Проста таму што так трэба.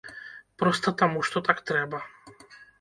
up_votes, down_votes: 2, 0